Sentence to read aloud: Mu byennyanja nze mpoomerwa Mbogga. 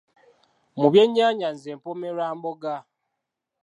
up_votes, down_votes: 2, 0